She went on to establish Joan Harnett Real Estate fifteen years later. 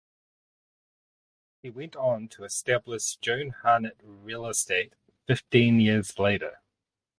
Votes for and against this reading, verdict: 0, 2, rejected